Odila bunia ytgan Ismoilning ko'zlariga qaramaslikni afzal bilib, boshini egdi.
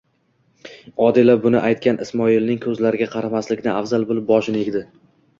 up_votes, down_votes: 2, 1